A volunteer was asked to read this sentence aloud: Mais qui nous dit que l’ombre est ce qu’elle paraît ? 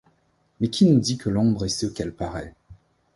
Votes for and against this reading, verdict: 2, 0, accepted